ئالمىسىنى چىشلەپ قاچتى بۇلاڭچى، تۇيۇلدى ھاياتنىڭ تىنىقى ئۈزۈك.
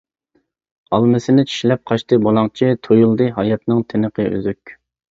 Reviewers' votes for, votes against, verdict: 2, 0, accepted